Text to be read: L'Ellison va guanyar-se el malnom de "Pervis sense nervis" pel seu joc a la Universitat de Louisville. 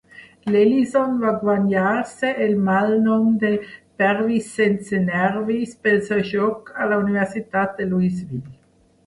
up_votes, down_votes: 1, 2